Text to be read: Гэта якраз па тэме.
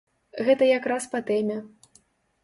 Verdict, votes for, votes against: accepted, 2, 0